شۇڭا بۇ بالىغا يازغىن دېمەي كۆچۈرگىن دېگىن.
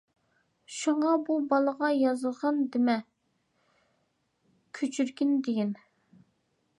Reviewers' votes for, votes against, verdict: 0, 2, rejected